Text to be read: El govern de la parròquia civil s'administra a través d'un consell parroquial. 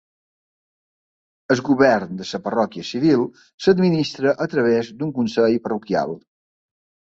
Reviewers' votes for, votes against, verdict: 2, 0, accepted